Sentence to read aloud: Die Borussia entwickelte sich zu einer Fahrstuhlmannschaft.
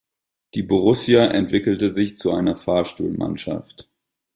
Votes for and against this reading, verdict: 2, 0, accepted